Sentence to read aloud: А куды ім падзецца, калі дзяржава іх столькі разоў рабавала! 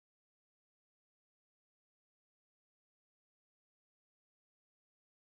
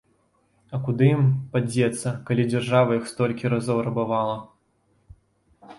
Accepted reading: second